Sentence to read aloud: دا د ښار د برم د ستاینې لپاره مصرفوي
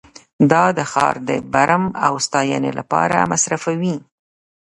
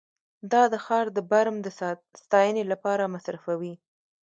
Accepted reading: second